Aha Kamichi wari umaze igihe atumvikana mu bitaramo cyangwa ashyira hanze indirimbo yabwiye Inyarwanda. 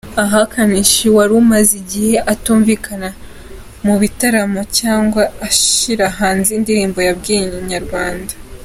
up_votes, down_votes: 2, 0